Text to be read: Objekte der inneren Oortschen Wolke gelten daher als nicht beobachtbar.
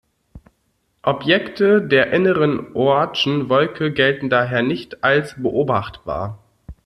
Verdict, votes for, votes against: accepted, 2, 1